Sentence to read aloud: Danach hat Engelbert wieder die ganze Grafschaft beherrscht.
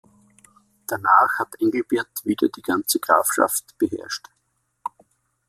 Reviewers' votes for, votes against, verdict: 2, 0, accepted